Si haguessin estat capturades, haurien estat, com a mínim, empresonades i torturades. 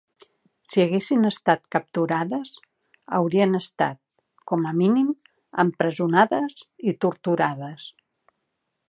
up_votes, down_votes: 4, 0